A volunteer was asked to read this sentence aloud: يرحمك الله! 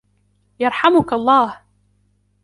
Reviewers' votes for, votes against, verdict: 2, 0, accepted